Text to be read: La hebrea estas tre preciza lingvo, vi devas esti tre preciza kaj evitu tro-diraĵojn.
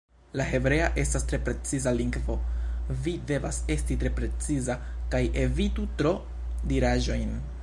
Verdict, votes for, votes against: accepted, 2, 0